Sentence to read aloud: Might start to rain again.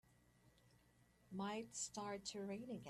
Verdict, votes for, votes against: rejected, 0, 2